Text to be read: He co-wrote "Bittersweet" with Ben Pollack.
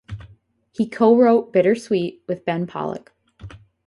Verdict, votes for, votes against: accepted, 4, 0